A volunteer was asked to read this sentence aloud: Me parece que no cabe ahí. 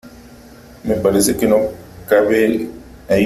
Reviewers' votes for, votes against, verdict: 3, 1, accepted